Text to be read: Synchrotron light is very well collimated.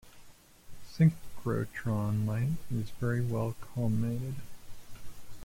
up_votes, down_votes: 1, 2